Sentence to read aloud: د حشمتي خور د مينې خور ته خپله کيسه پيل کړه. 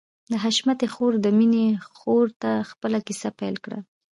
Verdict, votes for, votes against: accepted, 2, 0